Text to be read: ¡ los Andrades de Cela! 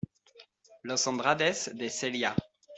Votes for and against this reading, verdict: 0, 2, rejected